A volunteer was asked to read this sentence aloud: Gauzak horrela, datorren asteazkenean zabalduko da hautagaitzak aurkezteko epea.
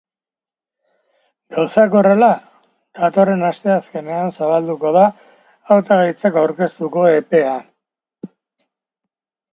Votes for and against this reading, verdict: 1, 2, rejected